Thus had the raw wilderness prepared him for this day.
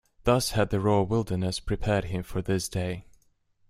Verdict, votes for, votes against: accepted, 2, 0